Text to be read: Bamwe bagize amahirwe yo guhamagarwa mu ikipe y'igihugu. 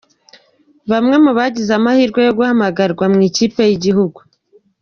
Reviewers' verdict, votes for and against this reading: rejected, 1, 2